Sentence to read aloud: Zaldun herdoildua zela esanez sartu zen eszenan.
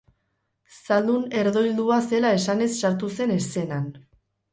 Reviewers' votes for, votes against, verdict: 4, 0, accepted